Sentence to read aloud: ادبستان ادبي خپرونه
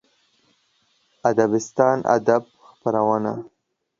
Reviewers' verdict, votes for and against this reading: rejected, 1, 2